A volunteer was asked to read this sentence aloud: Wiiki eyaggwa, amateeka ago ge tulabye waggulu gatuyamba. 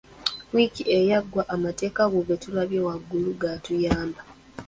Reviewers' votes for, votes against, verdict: 2, 0, accepted